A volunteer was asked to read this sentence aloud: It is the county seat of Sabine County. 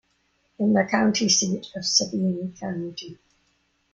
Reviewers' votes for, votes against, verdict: 1, 2, rejected